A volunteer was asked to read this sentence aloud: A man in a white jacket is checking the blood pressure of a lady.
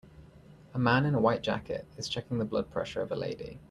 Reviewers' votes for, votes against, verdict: 2, 0, accepted